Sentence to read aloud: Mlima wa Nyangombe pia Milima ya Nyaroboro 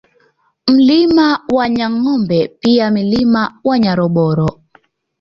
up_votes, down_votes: 2, 0